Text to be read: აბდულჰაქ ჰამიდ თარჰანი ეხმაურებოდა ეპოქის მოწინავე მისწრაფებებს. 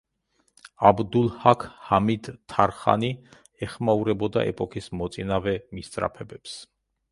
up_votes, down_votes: 2, 0